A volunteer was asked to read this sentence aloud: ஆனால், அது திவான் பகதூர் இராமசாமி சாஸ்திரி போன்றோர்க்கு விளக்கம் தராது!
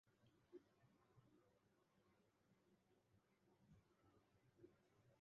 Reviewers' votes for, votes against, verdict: 0, 2, rejected